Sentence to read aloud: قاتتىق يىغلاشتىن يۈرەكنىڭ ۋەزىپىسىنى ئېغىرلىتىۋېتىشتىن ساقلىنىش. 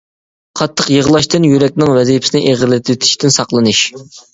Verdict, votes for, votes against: accepted, 2, 0